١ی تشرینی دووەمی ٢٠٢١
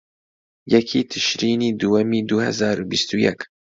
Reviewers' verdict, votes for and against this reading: rejected, 0, 2